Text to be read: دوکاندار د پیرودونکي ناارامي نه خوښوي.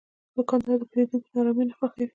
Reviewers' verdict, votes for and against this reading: rejected, 0, 2